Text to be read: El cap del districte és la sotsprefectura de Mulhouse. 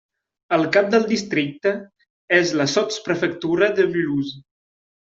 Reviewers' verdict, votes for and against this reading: accepted, 2, 1